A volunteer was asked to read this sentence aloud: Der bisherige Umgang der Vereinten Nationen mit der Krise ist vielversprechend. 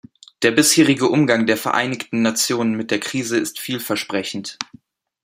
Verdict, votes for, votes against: rejected, 0, 2